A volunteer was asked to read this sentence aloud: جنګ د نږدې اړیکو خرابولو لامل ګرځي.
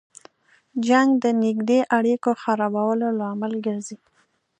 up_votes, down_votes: 2, 0